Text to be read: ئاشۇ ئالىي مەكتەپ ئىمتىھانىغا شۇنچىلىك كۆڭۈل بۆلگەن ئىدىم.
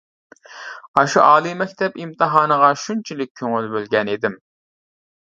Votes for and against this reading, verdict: 2, 0, accepted